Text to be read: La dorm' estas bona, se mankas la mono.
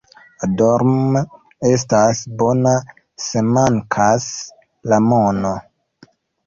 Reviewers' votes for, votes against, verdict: 1, 2, rejected